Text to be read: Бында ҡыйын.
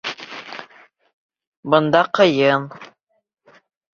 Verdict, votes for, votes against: rejected, 0, 2